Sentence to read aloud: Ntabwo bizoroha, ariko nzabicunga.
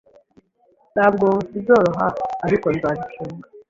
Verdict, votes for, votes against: accepted, 2, 0